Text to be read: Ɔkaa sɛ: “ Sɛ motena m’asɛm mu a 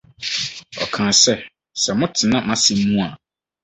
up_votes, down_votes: 4, 0